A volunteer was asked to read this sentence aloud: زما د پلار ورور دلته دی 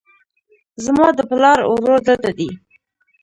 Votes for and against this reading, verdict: 0, 2, rejected